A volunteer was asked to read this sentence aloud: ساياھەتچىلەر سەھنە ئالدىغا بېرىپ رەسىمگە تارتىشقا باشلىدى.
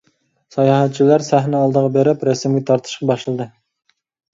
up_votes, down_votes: 2, 0